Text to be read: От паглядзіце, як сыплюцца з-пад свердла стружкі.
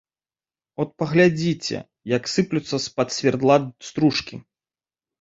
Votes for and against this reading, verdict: 2, 1, accepted